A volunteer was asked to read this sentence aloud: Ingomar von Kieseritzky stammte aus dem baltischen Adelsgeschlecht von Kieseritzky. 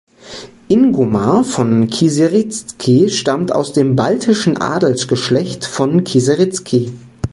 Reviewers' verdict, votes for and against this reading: rejected, 1, 2